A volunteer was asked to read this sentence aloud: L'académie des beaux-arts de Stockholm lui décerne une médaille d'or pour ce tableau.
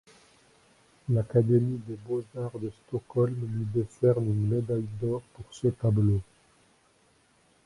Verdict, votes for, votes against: rejected, 0, 2